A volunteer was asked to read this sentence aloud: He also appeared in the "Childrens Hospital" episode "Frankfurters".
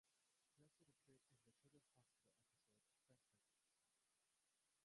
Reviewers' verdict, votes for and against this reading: rejected, 0, 2